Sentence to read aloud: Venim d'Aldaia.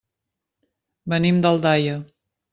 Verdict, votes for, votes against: accepted, 3, 0